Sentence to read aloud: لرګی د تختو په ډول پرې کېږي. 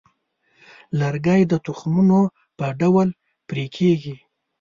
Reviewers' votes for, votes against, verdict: 1, 2, rejected